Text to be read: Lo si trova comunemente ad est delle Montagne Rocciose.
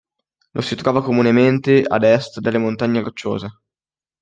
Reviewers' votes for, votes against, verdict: 2, 0, accepted